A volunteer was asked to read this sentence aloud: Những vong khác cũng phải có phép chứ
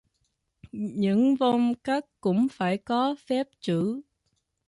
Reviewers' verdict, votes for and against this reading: rejected, 0, 2